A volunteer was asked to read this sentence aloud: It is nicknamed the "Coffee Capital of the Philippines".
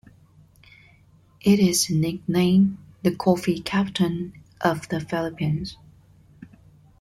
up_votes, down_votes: 0, 2